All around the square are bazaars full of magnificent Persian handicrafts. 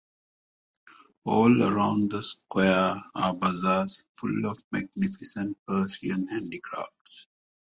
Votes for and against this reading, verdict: 2, 0, accepted